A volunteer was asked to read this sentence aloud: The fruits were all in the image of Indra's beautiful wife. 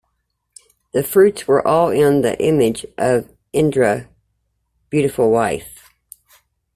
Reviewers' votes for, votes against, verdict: 0, 2, rejected